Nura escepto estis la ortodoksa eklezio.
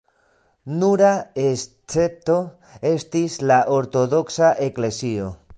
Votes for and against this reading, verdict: 2, 0, accepted